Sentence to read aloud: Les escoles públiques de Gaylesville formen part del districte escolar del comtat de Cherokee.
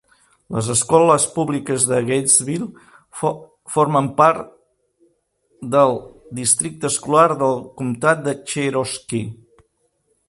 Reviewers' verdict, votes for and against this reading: rejected, 0, 2